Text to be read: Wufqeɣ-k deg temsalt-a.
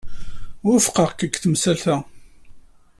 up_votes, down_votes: 2, 0